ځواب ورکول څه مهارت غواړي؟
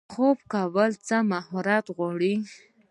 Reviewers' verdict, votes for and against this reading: rejected, 0, 2